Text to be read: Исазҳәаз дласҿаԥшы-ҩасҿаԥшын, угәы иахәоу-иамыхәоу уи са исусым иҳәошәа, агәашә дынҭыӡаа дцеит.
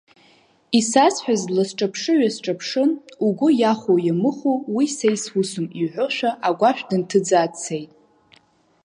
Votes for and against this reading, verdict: 5, 0, accepted